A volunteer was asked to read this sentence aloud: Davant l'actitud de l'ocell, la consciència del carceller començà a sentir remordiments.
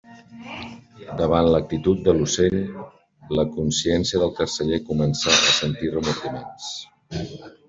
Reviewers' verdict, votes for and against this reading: accepted, 2, 0